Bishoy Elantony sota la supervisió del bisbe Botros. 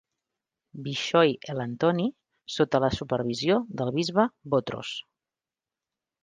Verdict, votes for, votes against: accepted, 3, 0